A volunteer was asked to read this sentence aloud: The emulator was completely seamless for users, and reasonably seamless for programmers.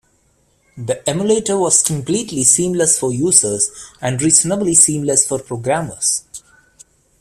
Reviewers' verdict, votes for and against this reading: accepted, 2, 0